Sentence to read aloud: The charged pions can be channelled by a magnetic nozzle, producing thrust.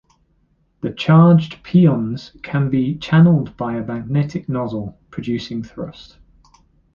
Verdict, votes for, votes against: accepted, 2, 0